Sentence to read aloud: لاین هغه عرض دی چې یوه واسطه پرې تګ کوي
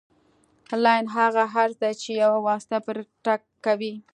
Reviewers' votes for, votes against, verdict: 1, 2, rejected